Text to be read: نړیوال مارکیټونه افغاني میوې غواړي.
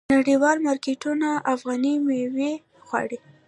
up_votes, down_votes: 2, 1